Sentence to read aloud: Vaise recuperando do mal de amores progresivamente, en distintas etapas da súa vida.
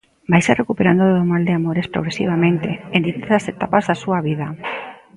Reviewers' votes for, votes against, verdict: 0, 2, rejected